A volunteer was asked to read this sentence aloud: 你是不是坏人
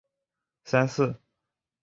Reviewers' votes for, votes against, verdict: 0, 4, rejected